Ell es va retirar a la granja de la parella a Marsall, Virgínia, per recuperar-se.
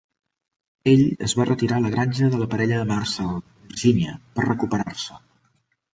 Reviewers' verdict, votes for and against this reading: accepted, 2, 1